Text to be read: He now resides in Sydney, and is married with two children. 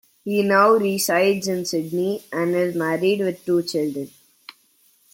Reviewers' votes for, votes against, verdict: 2, 0, accepted